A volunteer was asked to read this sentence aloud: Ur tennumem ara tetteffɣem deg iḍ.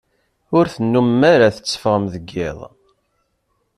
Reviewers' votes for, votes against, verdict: 2, 0, accepted